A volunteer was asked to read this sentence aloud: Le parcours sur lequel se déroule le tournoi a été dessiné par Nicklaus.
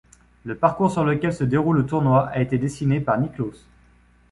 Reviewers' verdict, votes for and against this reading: accepted, 3, 0